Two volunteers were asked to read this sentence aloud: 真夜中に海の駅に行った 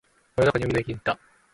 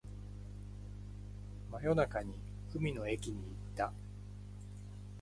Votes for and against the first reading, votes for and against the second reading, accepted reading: 1, 2, 2, 0, second